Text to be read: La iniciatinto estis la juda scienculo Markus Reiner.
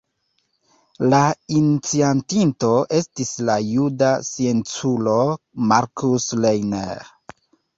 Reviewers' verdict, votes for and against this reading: accepted, 2, 0